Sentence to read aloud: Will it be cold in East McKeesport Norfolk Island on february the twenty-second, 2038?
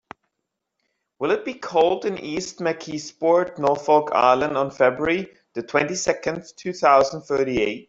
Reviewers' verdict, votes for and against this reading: rejected, 0, 2